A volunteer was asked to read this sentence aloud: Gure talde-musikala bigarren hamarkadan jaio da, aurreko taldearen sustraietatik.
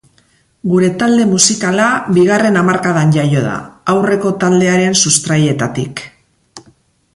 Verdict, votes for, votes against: accepted, 4, 0